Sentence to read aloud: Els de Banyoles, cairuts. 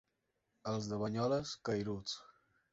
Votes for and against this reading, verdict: 5, 0, accepted